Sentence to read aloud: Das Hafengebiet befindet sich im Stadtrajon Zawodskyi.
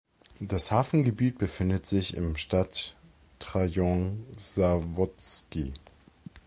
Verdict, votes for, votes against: rejected, 1, 2